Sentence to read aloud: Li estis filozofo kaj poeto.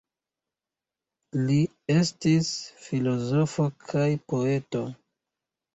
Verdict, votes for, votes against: rejected, 1, 2